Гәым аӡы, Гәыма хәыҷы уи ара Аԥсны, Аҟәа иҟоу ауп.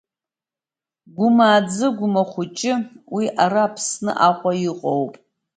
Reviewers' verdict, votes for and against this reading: rejected, 1, 2